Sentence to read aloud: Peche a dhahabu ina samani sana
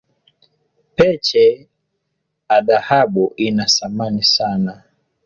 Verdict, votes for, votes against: accepted, 2, 0